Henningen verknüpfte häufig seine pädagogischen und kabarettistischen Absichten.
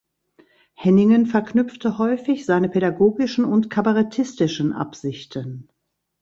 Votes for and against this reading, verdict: 2, 0, accepted